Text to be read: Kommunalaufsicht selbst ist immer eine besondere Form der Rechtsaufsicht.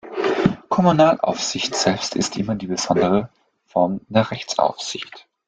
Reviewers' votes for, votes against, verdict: 0, 2, rejected